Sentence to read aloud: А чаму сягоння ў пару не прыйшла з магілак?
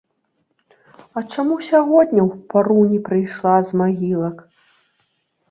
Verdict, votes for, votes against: accepted, 2, 0